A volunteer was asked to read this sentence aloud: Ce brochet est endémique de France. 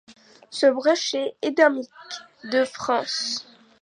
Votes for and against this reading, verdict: 2, 0, accepted